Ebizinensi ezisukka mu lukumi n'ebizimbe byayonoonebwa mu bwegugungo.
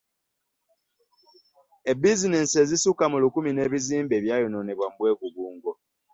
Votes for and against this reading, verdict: 2, 0, accepted